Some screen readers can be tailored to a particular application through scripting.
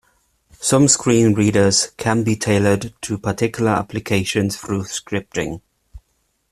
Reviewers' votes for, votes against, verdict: 1, 2, rejected